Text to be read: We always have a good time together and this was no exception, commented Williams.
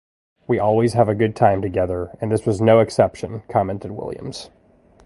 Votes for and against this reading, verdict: 2, 0, accepted